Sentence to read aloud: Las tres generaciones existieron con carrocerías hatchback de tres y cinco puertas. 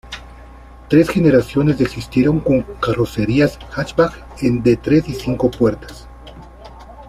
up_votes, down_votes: 0, 2